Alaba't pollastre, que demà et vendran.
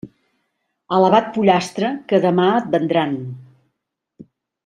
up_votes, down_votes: 1, 2